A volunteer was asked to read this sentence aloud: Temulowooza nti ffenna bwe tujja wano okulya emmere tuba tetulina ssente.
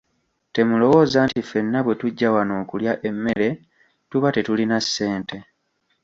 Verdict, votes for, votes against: rejected, 1, 2